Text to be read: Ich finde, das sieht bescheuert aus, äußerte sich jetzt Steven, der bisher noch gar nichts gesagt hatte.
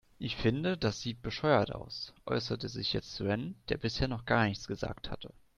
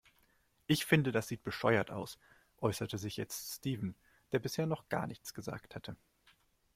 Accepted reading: second